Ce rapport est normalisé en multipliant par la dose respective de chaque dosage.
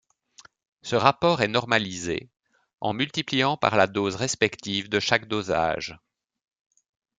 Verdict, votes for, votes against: accepted, 2, 1